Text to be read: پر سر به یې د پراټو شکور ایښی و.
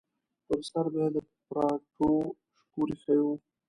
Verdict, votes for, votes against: rejected, 0, 2